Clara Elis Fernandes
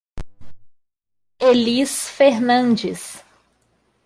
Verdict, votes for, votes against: rejected, 0, 2